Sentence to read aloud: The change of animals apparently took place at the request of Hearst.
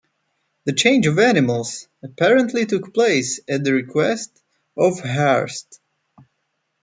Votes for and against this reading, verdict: 2, 0, accepted